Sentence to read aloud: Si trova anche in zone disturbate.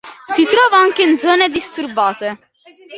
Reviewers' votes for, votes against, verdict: 2, 0, accepted